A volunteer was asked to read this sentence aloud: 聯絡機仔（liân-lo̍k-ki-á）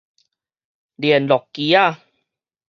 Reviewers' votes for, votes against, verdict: 4, 0, accepted